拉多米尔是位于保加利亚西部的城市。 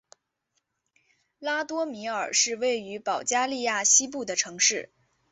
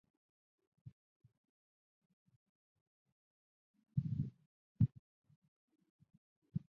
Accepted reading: first